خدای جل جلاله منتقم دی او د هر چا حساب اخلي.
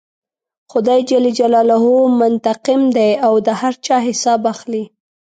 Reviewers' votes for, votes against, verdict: 2, 0, accepted